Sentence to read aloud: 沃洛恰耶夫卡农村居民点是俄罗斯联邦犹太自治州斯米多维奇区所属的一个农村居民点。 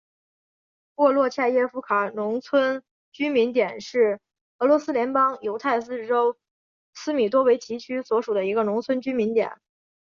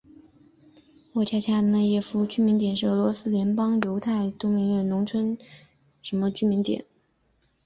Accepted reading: first